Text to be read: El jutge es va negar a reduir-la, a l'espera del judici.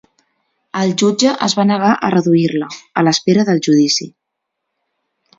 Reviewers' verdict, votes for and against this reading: accepted, 2, 0